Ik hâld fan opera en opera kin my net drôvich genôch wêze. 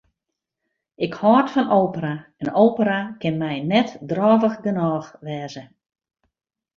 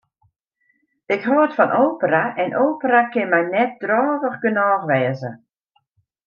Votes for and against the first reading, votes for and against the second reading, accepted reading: 2, 0, 0, 2, first